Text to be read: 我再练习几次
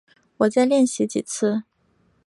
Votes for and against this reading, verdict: 2, 1, accepted